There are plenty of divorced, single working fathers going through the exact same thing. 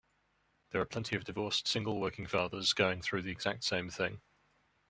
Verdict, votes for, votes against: rejected, 1, 2